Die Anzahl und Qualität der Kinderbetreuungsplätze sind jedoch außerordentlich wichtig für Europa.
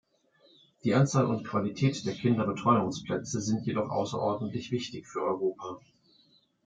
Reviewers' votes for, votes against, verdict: 2, 0, accepted